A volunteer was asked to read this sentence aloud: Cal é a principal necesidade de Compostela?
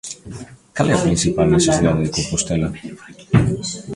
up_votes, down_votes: 0, 2